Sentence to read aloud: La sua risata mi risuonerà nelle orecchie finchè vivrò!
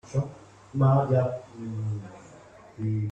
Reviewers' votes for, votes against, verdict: 0, 2, rejected